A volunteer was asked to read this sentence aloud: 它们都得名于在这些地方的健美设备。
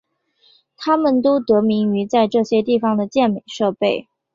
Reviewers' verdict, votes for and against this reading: accepted, 2, 0